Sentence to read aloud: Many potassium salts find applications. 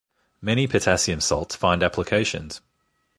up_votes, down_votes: 2, 0